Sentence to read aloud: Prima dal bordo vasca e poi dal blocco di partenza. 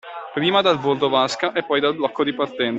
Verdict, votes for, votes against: rejected, 1, 2